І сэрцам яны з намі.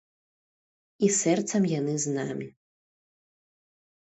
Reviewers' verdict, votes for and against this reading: accepted, 2, 0